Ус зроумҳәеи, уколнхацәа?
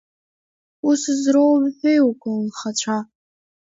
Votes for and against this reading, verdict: 1, 2, rejected